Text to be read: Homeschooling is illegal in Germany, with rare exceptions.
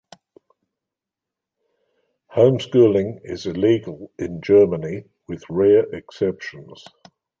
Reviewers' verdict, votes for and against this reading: accepted, 2, 0